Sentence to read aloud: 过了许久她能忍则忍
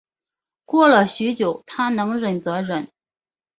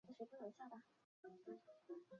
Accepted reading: first